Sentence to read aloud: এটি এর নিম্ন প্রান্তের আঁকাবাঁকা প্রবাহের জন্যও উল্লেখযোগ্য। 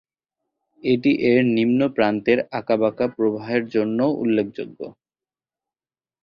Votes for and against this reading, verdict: 20, 2, accepted